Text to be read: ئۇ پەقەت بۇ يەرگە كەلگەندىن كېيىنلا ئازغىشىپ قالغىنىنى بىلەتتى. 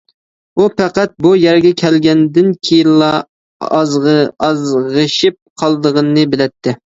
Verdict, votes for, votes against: rejected, 0, 2